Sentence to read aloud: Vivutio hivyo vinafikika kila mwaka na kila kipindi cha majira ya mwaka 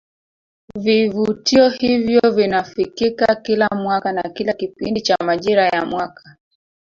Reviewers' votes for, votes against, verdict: 1, 2, rejected